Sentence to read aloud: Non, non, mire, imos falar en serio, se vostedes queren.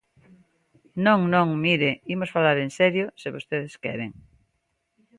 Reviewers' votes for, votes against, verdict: 2, 0, accepted